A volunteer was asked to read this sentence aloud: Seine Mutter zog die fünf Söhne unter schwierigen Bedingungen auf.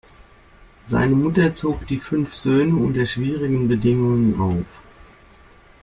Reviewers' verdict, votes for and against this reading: accepted, 2, 1